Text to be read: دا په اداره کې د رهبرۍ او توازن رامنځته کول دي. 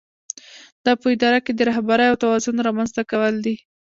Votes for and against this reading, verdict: 2, 0, accepted